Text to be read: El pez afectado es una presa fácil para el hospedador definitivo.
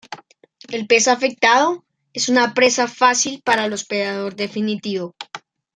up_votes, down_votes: 0, 2